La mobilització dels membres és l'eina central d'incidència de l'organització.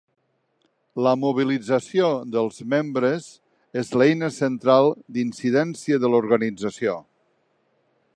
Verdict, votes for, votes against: accepted, 3, 0